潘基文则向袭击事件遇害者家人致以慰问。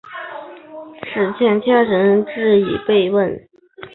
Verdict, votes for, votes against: rejected, 0, 3